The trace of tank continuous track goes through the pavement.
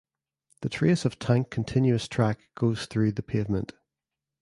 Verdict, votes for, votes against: accepted, 2, 0